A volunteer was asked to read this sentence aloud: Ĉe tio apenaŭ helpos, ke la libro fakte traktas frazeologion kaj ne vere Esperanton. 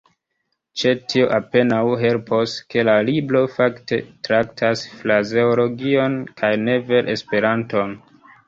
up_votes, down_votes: 2, 1